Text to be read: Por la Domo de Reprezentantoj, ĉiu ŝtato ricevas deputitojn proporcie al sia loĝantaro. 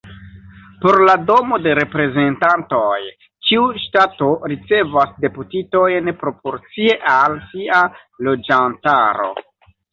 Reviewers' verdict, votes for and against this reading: accepted, 2, 1